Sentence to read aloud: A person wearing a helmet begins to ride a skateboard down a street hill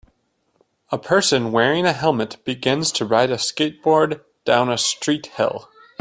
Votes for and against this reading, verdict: 2, 0, accepted